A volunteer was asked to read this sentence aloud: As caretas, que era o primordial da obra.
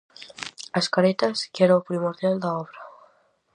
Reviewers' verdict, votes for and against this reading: accepted, 4, 0